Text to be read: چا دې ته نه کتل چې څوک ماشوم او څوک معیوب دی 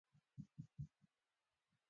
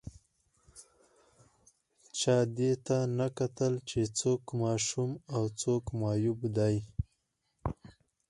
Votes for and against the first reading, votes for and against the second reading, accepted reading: 0, 2, 4, 0, second